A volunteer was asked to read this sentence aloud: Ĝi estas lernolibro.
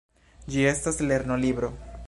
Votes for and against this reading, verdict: 2, 0, accepted